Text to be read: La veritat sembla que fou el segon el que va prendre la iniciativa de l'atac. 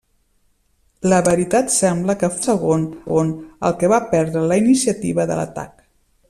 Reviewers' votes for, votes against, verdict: 0, 2, rejected